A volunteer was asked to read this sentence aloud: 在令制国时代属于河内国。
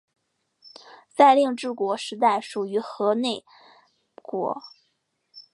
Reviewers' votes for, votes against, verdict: 2, 0, accepted